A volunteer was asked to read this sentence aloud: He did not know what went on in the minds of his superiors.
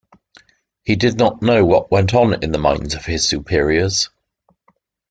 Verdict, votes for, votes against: accepted, 2, 0